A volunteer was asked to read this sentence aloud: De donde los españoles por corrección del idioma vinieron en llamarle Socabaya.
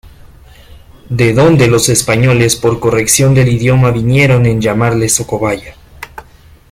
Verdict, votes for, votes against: rejected, 0, 2